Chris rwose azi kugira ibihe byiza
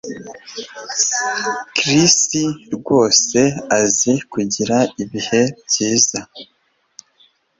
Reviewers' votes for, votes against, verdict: 2, 0, accepted